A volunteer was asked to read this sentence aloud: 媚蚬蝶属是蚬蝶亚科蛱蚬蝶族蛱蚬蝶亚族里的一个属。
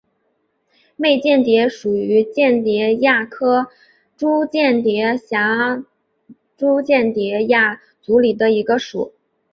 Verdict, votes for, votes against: accepted, 2, 1